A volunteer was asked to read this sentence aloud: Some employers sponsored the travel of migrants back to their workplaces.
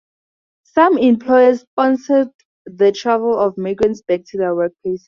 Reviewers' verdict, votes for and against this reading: accepted, 2, 0